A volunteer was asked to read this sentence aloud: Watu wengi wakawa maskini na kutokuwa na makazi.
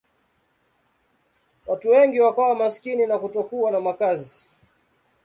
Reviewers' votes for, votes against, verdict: 2, 0, accepted